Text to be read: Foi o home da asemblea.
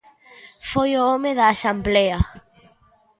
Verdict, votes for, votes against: rejected, 0, 2